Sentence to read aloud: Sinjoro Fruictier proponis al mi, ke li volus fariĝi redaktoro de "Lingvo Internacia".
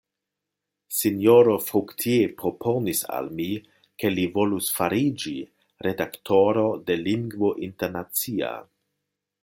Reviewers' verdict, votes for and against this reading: rejected, 0, 2